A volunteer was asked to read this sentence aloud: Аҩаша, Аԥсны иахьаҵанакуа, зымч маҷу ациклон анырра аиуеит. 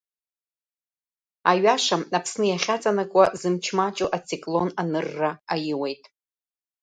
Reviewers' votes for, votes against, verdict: 2, 0, accepted